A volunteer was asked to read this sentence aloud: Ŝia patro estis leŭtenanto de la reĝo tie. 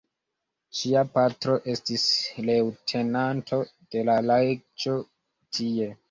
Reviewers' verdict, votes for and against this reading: accepted, 2, 0